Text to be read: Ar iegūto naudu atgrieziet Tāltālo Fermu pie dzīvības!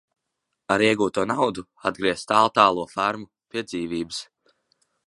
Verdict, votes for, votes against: rejected, 0, 2